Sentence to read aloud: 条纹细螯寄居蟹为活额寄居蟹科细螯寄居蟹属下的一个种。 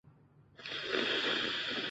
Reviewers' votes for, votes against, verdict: 0, 2, rejected